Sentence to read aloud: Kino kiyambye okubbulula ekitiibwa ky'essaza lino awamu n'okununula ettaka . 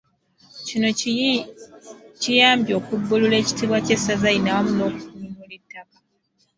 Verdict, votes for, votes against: rejected, 1, 2